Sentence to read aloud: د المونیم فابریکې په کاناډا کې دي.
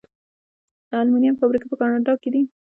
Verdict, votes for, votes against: rejected, 0, 2